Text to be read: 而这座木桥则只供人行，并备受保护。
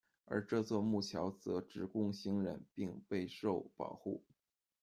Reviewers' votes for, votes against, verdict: 1, 2, rejected